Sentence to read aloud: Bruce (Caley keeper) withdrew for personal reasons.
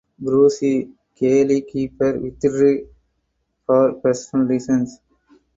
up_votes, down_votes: 4, 0